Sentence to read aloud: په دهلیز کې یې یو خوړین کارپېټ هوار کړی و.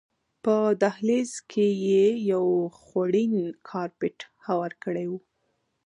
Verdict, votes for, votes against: rejected, 0, 2